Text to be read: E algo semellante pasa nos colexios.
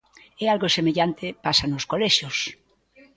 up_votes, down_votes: 2, 0